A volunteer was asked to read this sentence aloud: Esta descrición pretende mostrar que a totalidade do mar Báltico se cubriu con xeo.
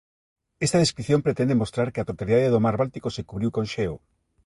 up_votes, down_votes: 2, 0